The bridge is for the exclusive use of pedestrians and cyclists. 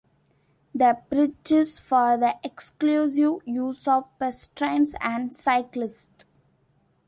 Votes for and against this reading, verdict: 0, 2, rejected